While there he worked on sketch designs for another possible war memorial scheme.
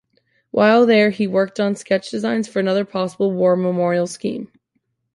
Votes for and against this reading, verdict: 2, 0, accepted